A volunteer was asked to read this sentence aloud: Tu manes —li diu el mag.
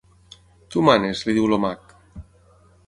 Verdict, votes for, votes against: rejected, 0, 9